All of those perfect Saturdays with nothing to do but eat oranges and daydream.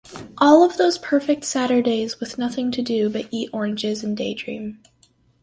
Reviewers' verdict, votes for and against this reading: accepted, 4, 0